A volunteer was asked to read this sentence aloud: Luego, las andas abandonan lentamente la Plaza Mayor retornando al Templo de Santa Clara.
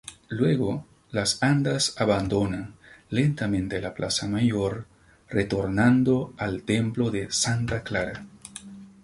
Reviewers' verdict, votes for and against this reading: accepted, 2, 0